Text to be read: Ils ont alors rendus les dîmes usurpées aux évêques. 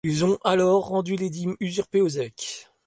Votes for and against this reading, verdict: 0, 2, rejected